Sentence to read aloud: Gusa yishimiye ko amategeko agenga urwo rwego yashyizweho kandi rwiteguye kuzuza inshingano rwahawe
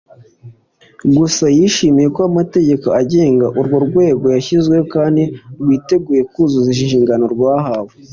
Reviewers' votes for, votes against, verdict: 2, 0, accepted